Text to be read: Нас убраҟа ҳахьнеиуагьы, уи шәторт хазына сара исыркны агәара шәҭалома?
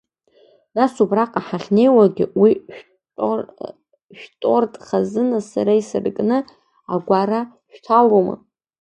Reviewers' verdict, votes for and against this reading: rejected, 0, 2